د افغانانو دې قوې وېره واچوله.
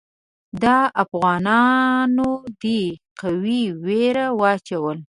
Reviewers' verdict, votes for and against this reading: rejected, 1, 2